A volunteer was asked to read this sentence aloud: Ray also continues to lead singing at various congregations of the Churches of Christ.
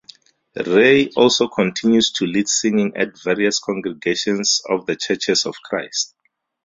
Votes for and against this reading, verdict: 2, 0, accepted